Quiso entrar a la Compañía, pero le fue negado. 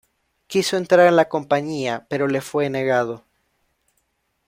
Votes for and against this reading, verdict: 2, 1, accepted